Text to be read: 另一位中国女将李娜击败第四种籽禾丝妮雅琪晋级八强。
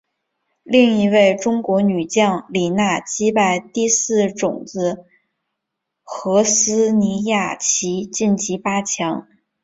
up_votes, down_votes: 2, 0